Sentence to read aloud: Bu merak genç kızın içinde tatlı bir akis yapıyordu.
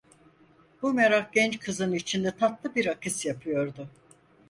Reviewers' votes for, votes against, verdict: 4, 0, accepted